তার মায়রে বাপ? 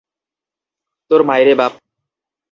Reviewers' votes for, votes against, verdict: 0, 2, rejected